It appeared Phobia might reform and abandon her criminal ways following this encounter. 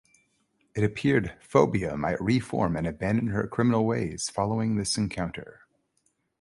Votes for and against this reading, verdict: 2, 0, accepted